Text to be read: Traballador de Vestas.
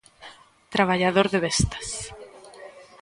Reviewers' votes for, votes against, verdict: 1, 2, rejected